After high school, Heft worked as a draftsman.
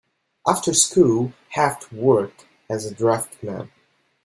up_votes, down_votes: 0, 2